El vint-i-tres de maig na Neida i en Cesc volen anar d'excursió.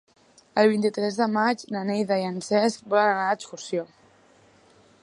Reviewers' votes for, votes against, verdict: 2, 0, accepted